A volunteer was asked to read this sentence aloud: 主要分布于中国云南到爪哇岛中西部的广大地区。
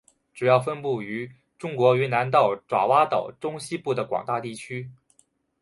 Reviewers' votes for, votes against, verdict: 4, 1, accepted